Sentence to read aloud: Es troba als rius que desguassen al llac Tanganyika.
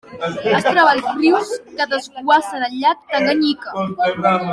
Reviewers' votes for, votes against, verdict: 2, 1, accepted